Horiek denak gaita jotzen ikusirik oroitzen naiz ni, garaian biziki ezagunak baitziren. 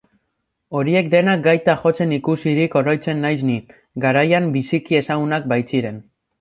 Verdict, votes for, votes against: accepted, 3, 0